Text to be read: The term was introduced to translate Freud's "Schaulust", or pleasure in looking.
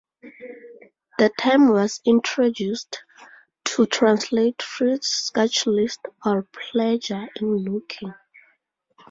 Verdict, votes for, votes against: rejected, 4, 6